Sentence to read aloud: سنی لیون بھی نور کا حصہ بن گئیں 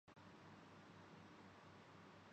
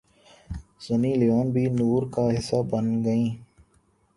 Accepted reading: second